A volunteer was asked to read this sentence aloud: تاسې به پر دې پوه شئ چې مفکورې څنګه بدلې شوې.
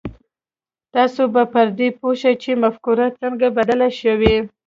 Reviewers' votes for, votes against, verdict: 2, 0, accepted